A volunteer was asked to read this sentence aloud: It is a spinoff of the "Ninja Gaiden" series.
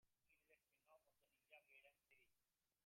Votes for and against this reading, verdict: 0, 3, rejected